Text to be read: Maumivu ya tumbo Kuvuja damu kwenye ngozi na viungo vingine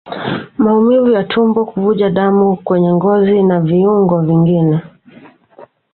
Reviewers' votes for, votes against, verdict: 2, 0, accepted